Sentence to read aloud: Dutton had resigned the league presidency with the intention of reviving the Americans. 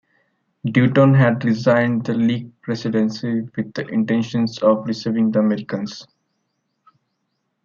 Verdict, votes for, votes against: rejected, 0, 2